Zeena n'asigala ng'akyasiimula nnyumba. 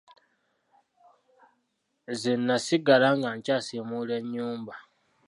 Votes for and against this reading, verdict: 1, 2, rejected